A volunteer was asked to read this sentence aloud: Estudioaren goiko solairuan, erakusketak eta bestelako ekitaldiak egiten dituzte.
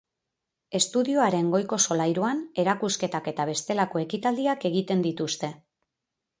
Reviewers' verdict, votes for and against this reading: accepted, 2, 0